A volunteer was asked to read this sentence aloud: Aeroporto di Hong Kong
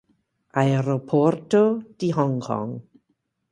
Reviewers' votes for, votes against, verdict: 2, 2, rejected